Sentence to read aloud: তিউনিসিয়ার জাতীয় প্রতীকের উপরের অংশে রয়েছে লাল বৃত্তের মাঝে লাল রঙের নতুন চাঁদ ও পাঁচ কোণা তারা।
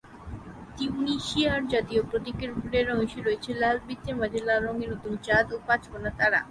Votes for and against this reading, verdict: 6, 0, accepted